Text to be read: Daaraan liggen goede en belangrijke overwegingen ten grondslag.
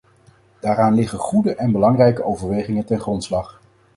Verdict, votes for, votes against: accepted, 4, 0